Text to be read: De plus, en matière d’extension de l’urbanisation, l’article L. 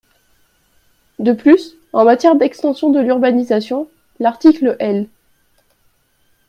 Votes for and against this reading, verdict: 2, 0, accepted